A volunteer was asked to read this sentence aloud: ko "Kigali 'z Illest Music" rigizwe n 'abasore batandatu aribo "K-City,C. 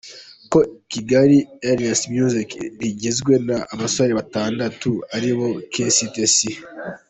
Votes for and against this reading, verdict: 0, 2, rejected